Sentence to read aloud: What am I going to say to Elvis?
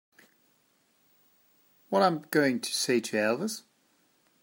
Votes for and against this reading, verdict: 0, 2, rejected